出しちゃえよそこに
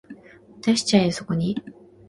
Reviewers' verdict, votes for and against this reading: accepted, 2, 0